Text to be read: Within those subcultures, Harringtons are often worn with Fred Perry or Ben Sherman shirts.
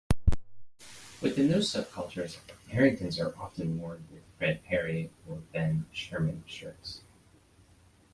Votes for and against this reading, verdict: 2, 0, accepted